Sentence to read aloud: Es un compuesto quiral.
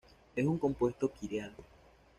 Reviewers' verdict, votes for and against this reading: accepted, 2, 0